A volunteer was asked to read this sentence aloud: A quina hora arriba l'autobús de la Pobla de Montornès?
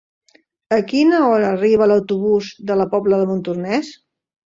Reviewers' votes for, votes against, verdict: 3, 0, accepted